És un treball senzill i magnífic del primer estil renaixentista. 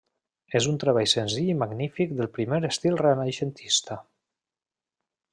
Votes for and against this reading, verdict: 3, 0, accepted